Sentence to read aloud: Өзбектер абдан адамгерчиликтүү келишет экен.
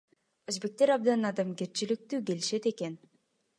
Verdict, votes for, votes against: accepted, 2, 0